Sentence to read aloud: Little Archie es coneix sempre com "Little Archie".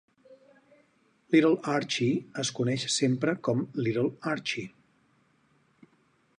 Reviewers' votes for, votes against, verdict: 4, 2, accepted